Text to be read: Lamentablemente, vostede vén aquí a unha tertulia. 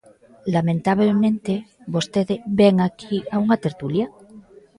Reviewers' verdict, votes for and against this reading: accepted, 2, 0